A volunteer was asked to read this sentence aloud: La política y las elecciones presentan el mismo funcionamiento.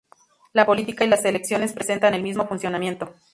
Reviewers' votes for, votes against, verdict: 2, 0, accepted